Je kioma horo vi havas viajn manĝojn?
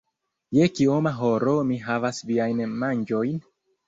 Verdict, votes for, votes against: rejected, 1, 2